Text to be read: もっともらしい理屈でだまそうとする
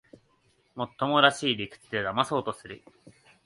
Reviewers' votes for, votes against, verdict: 2, 0, accepted